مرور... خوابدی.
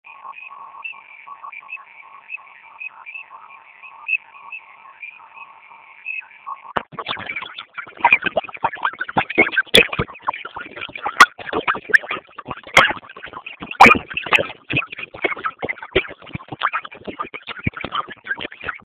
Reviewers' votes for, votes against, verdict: 0, 2, rejected